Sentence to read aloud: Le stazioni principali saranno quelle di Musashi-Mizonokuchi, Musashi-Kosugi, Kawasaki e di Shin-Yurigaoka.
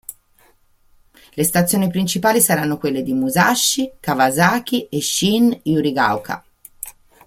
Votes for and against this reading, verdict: 0, 2, rejected